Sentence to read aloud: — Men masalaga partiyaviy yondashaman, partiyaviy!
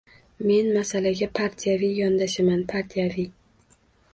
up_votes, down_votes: 2, 0